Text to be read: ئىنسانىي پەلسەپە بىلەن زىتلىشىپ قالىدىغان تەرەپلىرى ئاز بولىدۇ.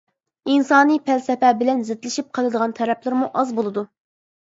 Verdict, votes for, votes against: rejected, 0, 2